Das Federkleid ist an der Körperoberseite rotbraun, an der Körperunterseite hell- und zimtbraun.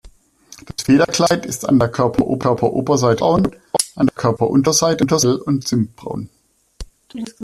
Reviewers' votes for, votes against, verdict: 0, 2, rejected